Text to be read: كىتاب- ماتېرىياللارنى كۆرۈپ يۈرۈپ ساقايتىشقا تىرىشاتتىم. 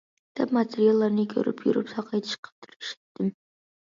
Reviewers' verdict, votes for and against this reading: rejected, 1, 2